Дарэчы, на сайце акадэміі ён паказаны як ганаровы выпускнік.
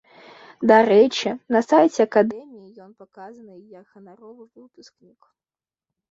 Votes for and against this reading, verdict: 1, 2, rejected